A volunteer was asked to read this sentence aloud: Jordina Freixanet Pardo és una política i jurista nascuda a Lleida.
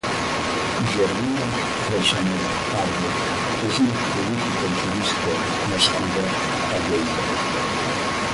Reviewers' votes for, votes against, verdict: 0, 2, rejected